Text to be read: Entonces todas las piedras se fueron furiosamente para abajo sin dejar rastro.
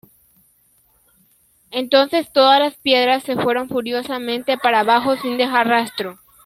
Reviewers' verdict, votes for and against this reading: accepted, 2, 1